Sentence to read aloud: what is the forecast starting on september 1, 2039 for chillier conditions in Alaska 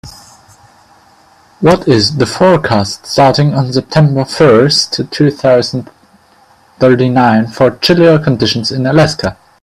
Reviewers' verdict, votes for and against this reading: rejected, 0, 2